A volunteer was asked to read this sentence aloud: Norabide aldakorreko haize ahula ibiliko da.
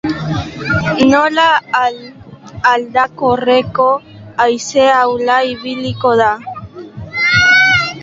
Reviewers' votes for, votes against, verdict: 0, 3, rejected